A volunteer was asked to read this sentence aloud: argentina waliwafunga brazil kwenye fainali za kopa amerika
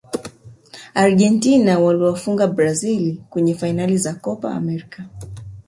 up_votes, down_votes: 0, 2